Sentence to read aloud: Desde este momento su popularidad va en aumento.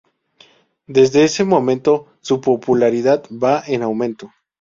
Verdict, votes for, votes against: rejected, 0, 2